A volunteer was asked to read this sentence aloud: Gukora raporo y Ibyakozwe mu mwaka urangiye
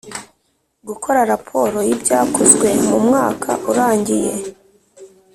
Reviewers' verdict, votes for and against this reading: accepted, 2, 0